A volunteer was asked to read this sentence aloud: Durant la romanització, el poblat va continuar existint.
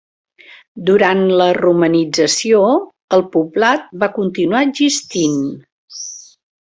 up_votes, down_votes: 2, 0